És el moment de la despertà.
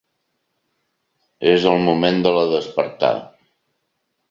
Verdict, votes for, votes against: accepted, 2, 0